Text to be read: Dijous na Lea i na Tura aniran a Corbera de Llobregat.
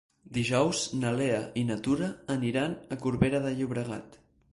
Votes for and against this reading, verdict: 2, 0, accepted